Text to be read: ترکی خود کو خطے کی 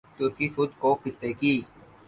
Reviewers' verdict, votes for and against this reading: accepted, 4, 0